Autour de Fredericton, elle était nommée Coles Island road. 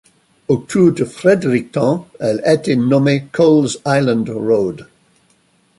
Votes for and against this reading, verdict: 1, 2, rejected